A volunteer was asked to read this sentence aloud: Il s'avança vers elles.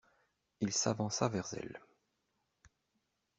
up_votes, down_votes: 2, 1